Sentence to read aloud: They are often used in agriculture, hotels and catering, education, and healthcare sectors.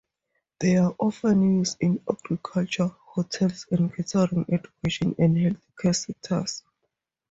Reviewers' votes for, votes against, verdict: 0, 4, rejected